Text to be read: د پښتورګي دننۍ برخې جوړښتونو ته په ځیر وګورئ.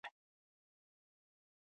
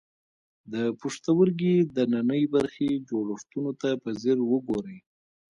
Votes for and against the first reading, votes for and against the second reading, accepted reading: 1, 2, 2, 0, second